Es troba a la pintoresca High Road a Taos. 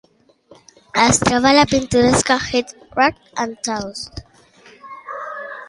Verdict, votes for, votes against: rejected, 0, 2